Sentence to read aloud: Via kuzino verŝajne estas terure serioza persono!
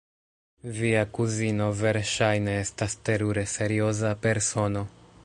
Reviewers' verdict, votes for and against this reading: rejected, 0, 2